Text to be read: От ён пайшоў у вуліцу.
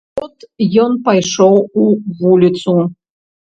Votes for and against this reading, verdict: 0, 2, rejected